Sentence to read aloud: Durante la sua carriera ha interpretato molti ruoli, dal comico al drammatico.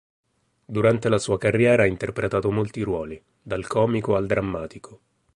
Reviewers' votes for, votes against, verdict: 2, 0, accepted